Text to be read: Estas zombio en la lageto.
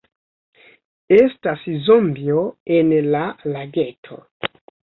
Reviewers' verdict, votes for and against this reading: rejected, 0, 2